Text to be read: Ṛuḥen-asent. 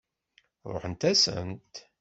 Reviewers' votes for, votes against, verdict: 1, 2, rejected